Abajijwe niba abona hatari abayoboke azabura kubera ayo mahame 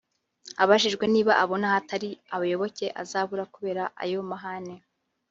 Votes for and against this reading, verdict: 1, 2, rejected